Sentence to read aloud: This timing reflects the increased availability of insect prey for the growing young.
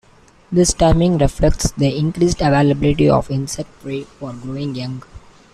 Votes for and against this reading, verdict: 2, 0, accepted